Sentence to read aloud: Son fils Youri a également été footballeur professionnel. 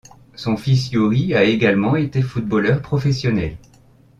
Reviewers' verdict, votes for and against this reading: accepted, 2, 0